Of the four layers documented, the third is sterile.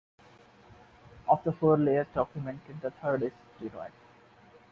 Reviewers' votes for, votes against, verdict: 2, 1, accepted